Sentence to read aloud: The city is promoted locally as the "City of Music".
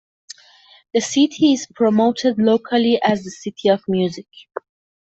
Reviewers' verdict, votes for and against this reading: accepted, 2, 0